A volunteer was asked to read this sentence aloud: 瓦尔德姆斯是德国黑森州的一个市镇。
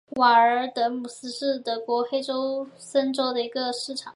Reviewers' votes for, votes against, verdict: 0, 2, rejected